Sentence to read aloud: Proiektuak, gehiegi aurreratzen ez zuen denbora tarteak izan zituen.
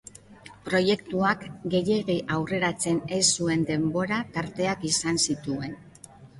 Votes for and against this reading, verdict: 0, 2, rejected